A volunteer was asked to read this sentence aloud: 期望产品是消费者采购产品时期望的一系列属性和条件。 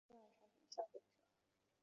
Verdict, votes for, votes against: rejected, 1, 2